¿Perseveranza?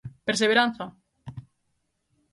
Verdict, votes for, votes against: accepted, 3, 0